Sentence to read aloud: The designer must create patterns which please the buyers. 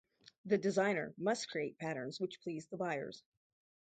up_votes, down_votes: 4, 0